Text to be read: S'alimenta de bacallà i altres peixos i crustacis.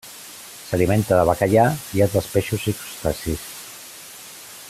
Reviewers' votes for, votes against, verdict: 2, 0, accepted